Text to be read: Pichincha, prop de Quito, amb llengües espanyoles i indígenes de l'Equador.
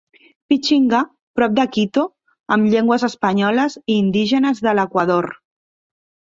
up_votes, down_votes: 0, 2